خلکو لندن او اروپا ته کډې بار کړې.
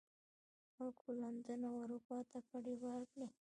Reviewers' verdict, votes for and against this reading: rejected, 1, 2